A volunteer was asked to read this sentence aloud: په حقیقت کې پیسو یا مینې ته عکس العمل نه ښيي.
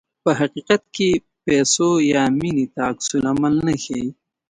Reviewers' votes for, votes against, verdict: 2, 0, accepted